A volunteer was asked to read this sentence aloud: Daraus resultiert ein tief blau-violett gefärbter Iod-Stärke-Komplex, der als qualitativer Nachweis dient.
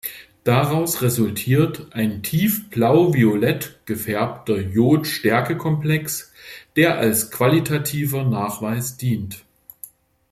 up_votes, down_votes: 2, 0